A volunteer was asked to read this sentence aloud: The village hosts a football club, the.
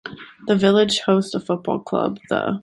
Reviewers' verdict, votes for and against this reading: accepted, 2, 0